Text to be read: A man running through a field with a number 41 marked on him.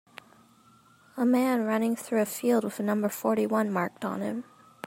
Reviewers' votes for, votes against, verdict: 0, 2, rejected